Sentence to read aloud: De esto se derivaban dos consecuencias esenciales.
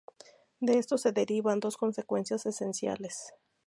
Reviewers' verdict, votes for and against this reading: rejected, 0, 2